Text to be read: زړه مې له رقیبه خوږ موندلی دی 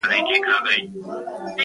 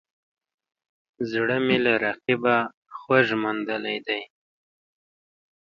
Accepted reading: second